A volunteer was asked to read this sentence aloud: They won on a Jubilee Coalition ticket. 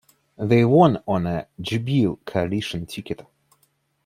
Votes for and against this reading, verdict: 0, 2, rejected